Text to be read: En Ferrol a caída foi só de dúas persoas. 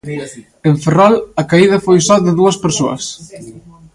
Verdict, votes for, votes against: rejected, 0, 2